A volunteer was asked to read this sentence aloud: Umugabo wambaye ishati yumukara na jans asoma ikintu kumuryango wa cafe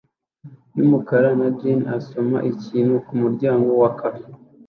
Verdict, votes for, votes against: rejected, 0, 2